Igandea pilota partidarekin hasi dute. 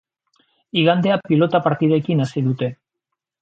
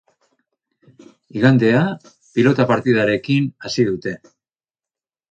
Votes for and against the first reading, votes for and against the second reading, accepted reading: 1, 2, 4, 0, second